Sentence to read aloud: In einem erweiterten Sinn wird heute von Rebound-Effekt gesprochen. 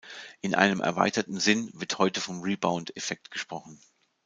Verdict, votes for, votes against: rejected, 1, 2